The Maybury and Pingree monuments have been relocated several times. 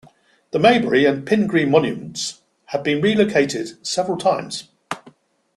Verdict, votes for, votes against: accepted, 3, 0